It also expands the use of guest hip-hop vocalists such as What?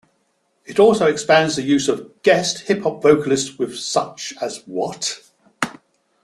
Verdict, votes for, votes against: rejected, 1, 2